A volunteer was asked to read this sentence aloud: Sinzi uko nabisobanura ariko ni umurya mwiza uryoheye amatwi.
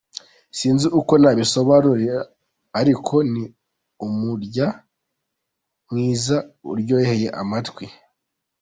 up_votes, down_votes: 2, 0